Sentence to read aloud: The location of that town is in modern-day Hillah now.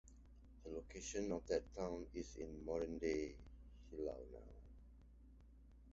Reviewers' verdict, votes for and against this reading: rejected, 0, 2